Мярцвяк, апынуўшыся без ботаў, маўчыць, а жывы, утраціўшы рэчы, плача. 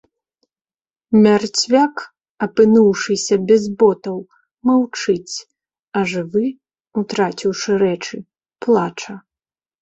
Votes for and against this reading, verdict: 3, 0, accepted